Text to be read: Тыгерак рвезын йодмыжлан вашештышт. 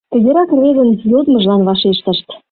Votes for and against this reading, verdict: 0, 2, rejected